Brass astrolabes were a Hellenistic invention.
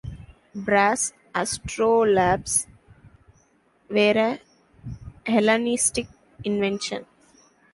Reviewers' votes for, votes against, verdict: 1, 2, rejected